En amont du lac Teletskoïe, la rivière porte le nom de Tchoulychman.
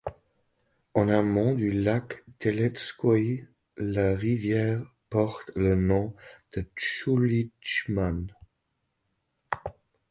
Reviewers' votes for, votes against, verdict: 1, 2, rejected